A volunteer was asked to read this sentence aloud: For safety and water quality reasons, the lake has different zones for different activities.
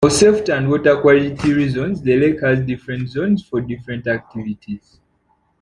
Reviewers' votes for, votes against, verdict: 0, 2, rejected